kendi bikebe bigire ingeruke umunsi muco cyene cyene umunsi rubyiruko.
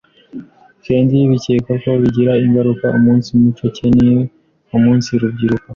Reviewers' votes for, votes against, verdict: 0, 2, rejected